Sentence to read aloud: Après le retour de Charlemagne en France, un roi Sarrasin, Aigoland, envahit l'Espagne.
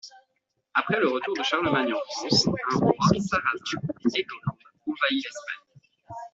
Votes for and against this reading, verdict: 2, 1, accepted